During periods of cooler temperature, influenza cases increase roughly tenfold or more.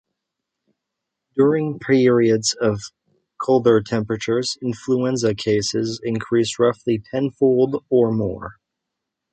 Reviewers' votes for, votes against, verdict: 0, 2, rejected